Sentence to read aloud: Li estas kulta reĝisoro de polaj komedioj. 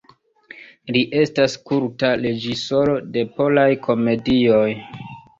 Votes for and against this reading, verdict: 0, 2, rejected